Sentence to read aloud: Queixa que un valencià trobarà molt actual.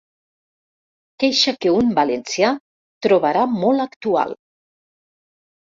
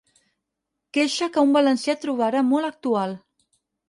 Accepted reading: second